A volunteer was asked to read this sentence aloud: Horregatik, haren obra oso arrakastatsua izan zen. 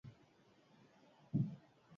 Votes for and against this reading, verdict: 0, 8, rejected